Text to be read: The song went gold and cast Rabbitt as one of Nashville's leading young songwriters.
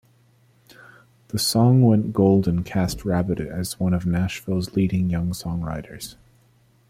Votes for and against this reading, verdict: 2, 0, accepted